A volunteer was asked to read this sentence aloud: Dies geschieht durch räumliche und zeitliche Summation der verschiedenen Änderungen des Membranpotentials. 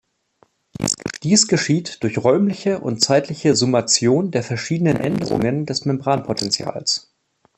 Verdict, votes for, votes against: rejected, 1, 2